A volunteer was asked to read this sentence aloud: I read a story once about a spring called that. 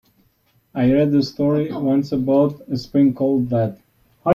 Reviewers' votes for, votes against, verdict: 1, 2, rejected